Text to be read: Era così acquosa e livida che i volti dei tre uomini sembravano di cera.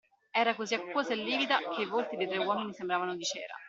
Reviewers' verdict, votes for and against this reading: accepted, 2, 1